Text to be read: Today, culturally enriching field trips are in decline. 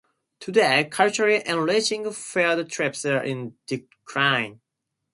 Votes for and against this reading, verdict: 4, 0, accepted